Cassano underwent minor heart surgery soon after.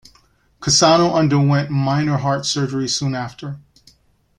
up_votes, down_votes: 2, 0